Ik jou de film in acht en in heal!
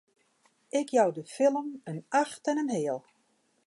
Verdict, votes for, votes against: accepted, 2, 0